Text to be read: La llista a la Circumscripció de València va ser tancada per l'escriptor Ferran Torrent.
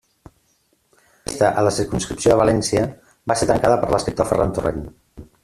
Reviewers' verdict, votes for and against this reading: rejected, 0, 2